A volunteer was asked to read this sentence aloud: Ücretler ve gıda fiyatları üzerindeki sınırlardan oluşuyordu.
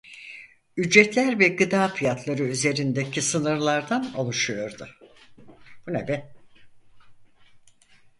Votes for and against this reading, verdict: 0, 4, rejected